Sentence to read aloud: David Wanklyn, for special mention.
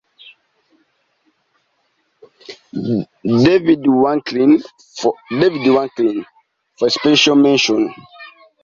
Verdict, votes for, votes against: rejected, 0, 2